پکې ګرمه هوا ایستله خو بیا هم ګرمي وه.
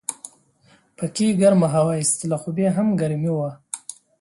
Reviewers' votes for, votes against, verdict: 2, 0, accepted